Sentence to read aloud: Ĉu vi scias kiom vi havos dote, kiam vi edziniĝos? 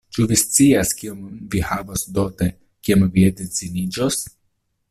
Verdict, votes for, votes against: accepted, 2, 0